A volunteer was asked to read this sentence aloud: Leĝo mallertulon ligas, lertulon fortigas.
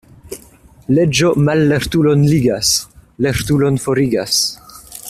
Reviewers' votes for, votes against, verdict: 0, 2, rejected